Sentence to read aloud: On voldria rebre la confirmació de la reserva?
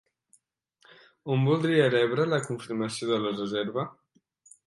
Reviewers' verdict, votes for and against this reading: accepted, 3, 0